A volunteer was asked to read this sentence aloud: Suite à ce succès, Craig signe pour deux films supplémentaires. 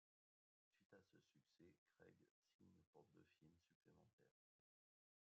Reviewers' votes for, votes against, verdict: 0, 2, rejected